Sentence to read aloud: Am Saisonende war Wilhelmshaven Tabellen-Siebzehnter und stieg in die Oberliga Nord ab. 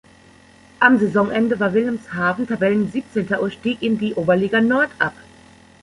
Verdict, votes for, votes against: accepted, 2, 0